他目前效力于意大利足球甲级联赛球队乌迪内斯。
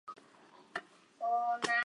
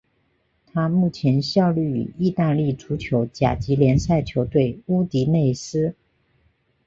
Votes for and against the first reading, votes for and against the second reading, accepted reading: 0, 2, 3, 0, second